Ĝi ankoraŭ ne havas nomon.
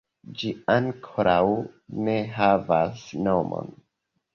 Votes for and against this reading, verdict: 2, 0, accepted